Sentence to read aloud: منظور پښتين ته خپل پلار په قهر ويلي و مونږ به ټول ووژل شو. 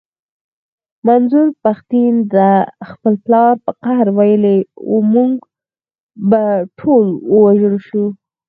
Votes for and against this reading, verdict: 2, 4, rejected